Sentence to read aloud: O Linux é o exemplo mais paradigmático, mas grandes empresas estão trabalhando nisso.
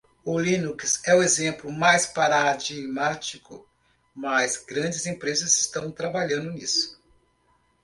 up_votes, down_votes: 1, 2